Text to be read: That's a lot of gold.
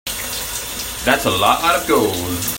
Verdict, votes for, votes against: rejected, 0, 2